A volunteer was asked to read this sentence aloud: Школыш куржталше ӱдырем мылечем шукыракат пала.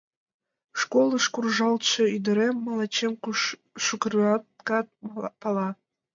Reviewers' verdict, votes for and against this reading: rejected, 1, 2